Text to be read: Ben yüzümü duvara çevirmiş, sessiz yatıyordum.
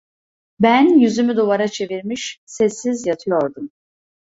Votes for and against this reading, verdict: 2, 0, accepted